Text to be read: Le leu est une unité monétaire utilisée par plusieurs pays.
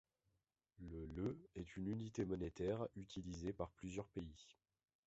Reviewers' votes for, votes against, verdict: 2, 1, accepted